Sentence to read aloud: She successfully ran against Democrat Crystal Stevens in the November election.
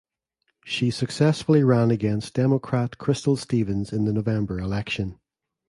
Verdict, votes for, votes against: accepted, 2, 0